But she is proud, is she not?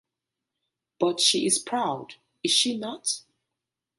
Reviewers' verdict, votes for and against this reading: accepted, 2, 0